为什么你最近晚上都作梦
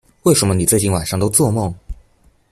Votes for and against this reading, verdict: 2, 0, accepted